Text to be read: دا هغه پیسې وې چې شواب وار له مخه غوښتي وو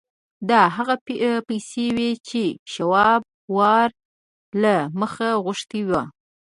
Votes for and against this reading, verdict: 1, 2, rejected